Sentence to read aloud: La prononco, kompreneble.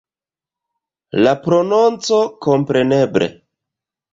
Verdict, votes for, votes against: accepted, 2, 0